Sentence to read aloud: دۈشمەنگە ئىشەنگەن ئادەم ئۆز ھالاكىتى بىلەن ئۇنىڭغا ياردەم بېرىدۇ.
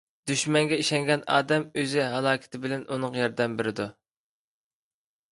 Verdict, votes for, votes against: rejected, 1, 2